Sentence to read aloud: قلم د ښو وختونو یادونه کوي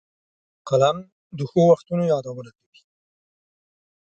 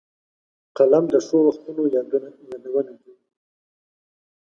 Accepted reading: first